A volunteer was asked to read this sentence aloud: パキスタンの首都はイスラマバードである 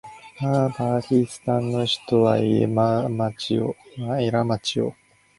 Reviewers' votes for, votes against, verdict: 0, 2, rejected